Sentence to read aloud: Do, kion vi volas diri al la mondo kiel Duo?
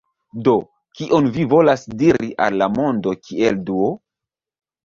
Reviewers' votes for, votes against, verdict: 1, 2, rejected